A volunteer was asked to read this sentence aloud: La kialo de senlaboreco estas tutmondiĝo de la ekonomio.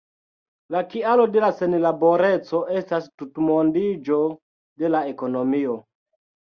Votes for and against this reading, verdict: 2, 0, accepted